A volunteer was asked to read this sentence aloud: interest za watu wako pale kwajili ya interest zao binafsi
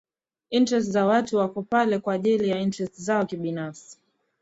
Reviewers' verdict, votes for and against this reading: accepted, 2, 0